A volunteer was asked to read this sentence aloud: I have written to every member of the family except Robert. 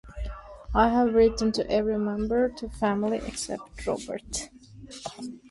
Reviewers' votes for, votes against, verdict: 0, 2, rejected